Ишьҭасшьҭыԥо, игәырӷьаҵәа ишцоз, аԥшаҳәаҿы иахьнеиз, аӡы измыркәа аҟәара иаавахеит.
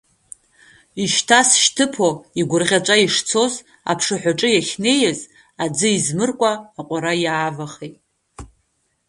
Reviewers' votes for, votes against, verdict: 0, 2, rejected